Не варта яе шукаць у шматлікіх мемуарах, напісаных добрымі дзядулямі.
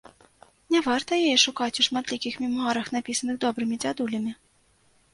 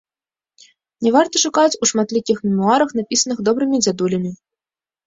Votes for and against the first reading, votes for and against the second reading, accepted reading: 2, 0, 0, 2, first